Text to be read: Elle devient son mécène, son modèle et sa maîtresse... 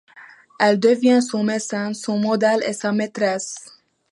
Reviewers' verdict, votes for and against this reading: accepted, 2, 0